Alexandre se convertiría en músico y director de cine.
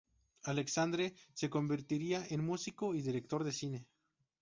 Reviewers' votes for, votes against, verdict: 2, 0, accepted